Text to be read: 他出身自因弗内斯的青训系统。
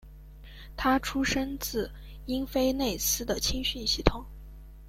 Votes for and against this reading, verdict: 1, 2, rejected